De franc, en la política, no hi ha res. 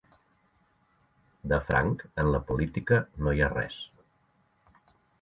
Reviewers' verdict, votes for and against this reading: accepted, 3, 0